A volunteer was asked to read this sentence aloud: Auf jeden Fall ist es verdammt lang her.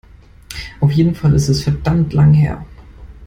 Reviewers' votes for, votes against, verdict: 2, 0, accepted